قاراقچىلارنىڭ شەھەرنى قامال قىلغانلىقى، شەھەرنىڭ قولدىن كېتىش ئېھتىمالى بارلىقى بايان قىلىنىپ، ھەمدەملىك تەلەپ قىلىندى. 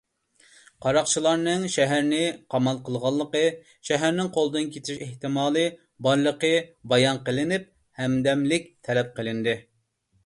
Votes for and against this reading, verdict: 2, 0, accepted